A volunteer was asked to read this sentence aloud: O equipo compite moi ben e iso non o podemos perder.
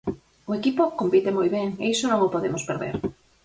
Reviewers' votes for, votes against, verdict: 4, 0, accepted